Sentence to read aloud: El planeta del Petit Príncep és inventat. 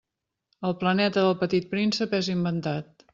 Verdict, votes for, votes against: accepted, 3, 0